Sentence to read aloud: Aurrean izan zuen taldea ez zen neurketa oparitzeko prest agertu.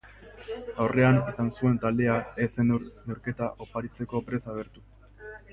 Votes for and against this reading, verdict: 0, 3, rejected